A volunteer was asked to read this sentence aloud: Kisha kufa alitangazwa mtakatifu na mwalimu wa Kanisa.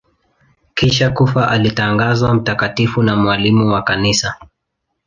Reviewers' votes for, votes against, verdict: 2, 0, accepted